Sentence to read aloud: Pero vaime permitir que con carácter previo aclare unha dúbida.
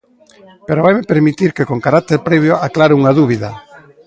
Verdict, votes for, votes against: rejected, 1, 2